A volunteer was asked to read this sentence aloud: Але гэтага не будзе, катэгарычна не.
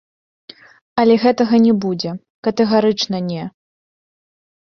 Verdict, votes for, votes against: accepted, 2, 0